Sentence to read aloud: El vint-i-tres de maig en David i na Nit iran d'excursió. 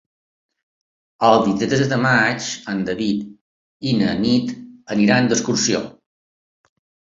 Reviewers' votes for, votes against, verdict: 3, 5, rejected